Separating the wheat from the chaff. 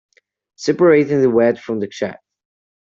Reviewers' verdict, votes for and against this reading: rejected, 1, 2